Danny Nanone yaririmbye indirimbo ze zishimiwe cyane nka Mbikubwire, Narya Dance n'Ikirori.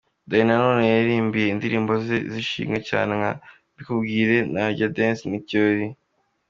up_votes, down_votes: 2, 0